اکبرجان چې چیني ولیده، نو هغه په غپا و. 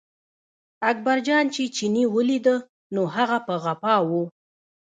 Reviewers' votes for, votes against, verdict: 0, 2, rejected